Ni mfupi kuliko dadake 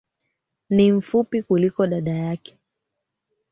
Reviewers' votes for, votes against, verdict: 3, 1, accepted